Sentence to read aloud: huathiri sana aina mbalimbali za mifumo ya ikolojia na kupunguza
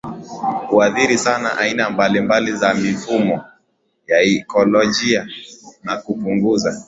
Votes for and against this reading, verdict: 2, 0, accepted